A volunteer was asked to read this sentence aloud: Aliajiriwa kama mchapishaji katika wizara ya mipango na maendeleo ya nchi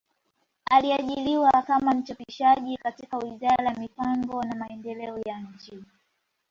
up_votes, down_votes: 1, 2